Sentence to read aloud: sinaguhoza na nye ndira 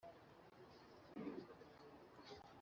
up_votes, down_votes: 1, 2